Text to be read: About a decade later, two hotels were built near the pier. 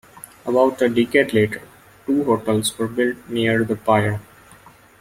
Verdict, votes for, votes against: rejected, 0, 2